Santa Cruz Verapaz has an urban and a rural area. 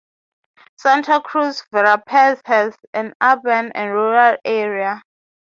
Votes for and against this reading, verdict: 3, 0, accepted